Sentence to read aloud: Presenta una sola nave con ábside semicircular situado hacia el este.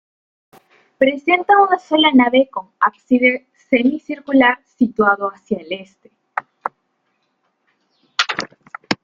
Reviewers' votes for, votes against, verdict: 1, 2, rejected